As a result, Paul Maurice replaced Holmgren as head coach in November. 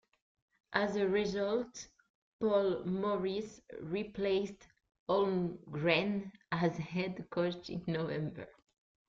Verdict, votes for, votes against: accepted, 2, 1